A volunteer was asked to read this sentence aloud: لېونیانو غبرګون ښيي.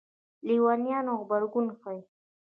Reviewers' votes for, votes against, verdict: 2, 0, accepted